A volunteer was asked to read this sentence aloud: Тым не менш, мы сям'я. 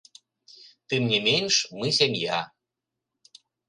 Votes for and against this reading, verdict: 2, 0, accepted